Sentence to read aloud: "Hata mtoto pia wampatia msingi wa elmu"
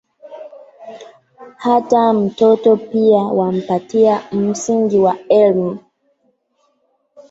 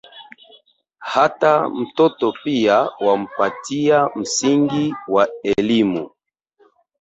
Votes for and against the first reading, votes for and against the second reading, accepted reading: 2, 3, 7, 0, second